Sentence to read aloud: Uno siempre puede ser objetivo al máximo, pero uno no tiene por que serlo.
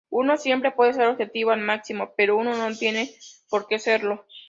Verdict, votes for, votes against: accepted, 2, 0